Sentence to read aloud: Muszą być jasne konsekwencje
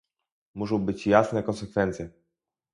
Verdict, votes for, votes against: rejected, 2, 2